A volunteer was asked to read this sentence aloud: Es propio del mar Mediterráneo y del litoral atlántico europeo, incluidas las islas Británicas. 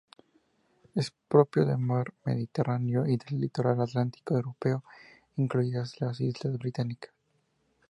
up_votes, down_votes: 2, 0